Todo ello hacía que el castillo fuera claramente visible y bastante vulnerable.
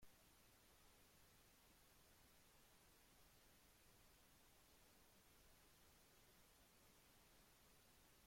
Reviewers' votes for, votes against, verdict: 0, 2, rejected